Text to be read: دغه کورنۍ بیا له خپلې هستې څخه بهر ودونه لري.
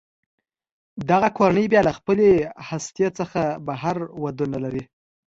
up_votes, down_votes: 2, 1